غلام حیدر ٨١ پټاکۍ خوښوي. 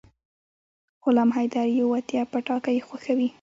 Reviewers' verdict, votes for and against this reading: rejected, 0, 2